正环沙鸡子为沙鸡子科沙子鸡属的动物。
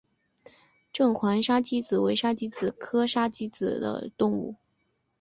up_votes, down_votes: 1, 2